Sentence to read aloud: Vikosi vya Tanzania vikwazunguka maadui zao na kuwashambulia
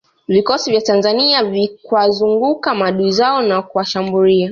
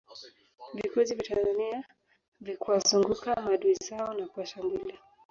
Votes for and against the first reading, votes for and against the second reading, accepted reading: 2, 0, 1, 2, first